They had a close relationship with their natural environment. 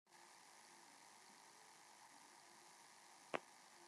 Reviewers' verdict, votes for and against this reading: rejected, 0, 2